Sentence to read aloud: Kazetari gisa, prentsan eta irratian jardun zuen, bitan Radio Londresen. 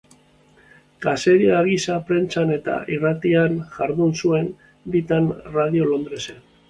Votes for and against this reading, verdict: 1, 2, rejected